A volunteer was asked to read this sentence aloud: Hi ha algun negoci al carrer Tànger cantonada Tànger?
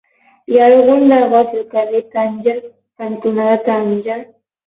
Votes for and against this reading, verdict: 12, 0, accepted